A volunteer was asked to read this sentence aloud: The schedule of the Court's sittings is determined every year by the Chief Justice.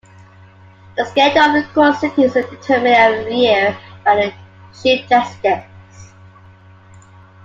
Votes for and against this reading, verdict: 0, 2, rejected